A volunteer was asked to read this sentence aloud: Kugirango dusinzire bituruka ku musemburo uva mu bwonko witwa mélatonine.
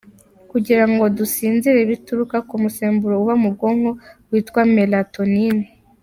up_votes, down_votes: 2, 0